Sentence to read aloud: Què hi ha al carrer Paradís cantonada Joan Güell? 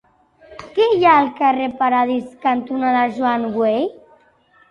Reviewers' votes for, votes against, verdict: 2, 0, accepted